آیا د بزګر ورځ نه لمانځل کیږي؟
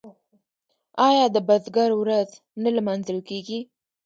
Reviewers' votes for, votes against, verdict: 2, 3, rejected